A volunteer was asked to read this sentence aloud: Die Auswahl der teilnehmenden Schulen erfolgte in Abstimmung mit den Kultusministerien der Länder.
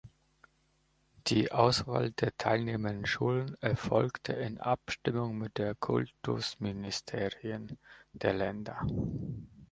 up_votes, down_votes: 1, 2